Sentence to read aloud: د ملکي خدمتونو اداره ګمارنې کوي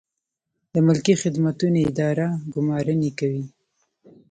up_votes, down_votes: 3, 2